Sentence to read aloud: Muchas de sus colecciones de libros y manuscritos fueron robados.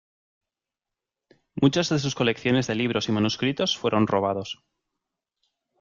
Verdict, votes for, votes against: rejected, 0, 2